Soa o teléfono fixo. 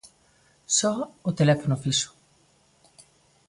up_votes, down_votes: 2, 0